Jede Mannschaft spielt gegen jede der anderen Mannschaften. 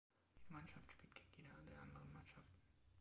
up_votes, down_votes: 0, 2